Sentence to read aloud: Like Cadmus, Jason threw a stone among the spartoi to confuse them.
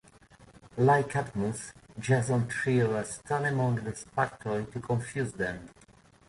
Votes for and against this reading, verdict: 1, 2, rejected